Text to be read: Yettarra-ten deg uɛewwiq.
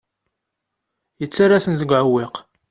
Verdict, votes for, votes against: accepted, 2, 0